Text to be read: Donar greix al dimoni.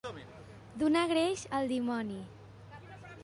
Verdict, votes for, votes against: accepted, 2, 0